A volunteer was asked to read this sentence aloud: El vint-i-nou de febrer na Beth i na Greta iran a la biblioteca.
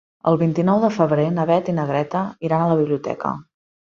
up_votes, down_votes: 3, 0